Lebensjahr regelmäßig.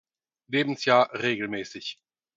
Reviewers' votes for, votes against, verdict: 4, 0, accepted